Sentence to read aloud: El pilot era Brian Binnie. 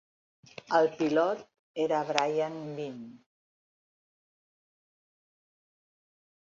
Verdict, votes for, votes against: accepted, 2, 0